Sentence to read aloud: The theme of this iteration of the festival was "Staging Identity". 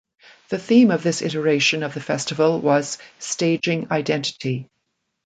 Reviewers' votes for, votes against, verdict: 2, 0, accepted